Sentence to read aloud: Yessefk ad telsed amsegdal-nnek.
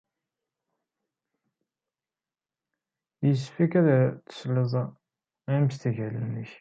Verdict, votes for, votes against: rejected, 1, 2